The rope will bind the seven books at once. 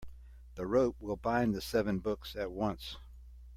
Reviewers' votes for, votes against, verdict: 2, 0, accepted